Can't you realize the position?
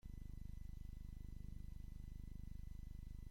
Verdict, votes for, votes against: rejected, 0, 2